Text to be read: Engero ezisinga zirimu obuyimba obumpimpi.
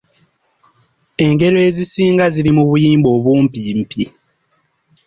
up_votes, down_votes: 2, 1